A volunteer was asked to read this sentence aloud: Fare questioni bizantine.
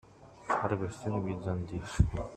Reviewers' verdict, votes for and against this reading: rejected, 1, 2